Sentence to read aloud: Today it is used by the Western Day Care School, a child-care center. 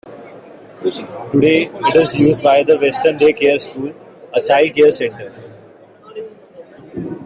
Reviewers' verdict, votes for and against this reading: rejected, 1, 2